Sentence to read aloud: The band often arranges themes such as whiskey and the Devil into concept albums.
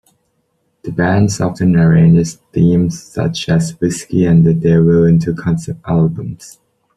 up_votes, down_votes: 0, 2